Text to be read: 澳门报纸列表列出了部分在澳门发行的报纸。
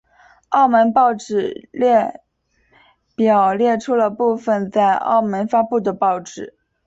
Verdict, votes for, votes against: accepted, 2, 0